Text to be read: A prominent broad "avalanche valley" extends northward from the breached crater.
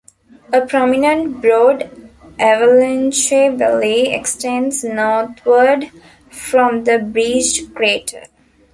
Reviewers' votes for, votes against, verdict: 1, 2, rejected